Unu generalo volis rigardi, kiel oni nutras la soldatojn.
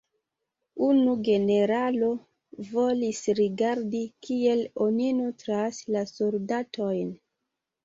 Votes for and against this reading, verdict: 2, 0, accepted